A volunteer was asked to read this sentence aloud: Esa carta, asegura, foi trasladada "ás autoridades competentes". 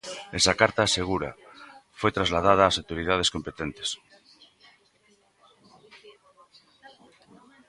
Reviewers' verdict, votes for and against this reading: accepted, 2, 0